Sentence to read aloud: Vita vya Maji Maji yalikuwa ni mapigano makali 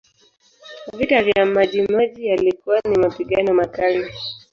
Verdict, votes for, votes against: rejected, 1, 2